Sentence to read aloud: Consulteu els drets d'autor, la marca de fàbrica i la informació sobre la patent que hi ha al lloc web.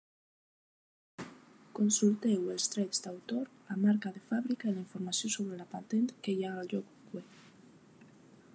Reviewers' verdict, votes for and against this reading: accepted, 2, 1